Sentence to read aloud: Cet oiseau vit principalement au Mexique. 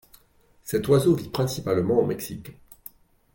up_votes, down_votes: 2, 1